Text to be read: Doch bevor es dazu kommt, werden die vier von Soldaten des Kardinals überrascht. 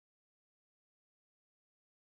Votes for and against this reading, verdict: 0, 2, rejected